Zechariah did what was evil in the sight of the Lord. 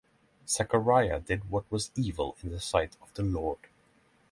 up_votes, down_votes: 3, 3